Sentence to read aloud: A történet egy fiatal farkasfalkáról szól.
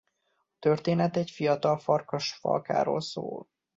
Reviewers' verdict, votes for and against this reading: accepted, 2, 1